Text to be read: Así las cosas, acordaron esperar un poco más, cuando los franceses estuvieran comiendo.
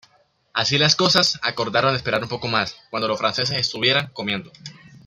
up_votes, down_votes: 2, 0